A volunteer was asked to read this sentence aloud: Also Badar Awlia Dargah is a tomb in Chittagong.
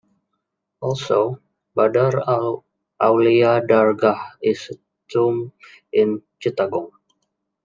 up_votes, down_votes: 0, 2